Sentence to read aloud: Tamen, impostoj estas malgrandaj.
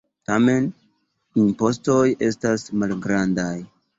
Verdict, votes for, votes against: rejected, 1, 2